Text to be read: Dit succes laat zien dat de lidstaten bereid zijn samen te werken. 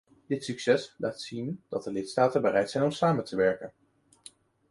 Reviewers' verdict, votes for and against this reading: rejected, 1, 2